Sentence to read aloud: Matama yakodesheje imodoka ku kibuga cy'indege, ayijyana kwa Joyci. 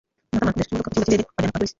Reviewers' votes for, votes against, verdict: 0, 2, rejected